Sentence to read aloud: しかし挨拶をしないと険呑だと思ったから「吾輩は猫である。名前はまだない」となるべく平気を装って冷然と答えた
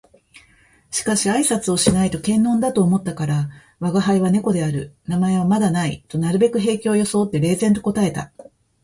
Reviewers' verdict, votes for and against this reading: accepted, 2, 0